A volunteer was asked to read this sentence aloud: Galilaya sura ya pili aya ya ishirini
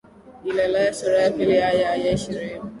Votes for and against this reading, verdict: 2, 0, accepted